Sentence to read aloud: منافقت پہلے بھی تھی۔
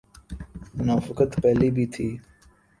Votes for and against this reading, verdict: 3, 0, accepted